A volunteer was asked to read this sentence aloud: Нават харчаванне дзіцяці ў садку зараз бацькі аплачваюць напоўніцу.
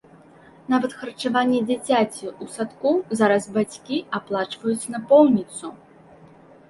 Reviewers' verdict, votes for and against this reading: accepted, 2, 0